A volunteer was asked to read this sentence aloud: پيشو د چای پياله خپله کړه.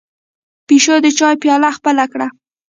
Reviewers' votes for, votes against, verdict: 1, 2, rejected